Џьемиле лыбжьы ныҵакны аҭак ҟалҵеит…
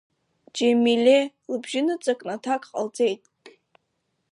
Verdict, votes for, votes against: rejected, 0, 2